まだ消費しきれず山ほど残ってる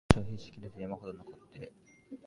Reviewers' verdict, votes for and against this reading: rejected, 0, 2